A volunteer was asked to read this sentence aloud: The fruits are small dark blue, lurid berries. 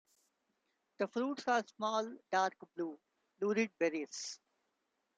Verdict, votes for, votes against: accepted, 2, 0